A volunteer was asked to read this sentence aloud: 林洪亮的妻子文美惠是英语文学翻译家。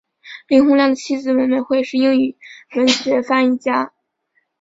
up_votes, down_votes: 2, 0